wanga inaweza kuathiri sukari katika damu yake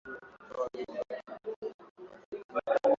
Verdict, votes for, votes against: rejected, 0, 2